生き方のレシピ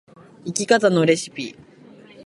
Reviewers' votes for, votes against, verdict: 3, 0, accepted